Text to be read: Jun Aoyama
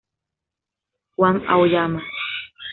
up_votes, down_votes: 1, 2